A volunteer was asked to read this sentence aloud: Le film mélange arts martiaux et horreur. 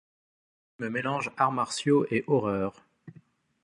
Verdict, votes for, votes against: rejected, 0, 2